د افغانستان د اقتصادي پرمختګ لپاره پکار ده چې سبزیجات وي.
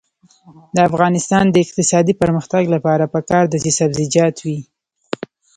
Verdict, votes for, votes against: accepted, 2, 0